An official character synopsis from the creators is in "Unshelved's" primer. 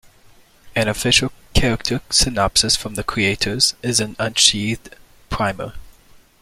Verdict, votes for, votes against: rejected, 0, 2